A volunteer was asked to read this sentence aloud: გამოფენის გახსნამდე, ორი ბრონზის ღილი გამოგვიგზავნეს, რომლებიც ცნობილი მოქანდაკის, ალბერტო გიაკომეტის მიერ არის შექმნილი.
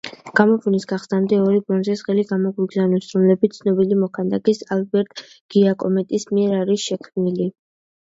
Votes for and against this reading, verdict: 2, 0, accepted